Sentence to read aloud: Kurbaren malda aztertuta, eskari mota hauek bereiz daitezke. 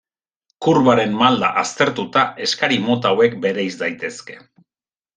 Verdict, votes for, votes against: accepted, 2, 1